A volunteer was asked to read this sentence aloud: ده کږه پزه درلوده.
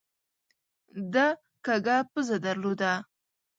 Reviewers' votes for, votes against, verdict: 2, 0, accepted